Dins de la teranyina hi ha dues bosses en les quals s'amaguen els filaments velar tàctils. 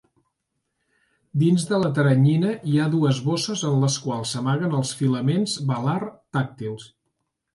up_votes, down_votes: 2, 0